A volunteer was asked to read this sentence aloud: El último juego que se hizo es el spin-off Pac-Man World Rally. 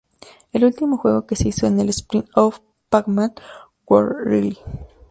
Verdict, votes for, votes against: rejected, 0, 2